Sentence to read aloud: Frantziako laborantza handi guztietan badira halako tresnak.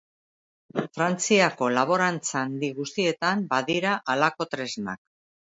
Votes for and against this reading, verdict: 2, 0, accepted